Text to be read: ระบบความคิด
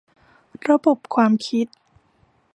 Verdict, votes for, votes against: accepted, 2, 0